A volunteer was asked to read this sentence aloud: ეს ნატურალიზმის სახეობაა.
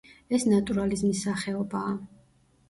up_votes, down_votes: 2, 0